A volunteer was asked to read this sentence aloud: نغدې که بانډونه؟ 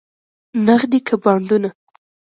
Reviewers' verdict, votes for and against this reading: accepted, 2, 0